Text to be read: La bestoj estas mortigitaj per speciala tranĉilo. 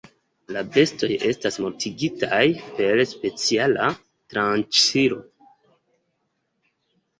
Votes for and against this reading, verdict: 1, 2, rejected